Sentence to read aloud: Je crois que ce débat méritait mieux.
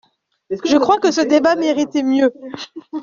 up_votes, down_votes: 0, 2